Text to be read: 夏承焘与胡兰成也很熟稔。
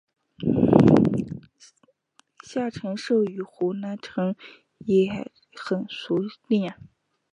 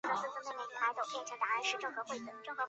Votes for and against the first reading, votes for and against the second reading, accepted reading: 2, 1, 0, 2, first